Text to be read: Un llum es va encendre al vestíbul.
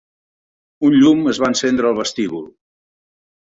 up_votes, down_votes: 2, 0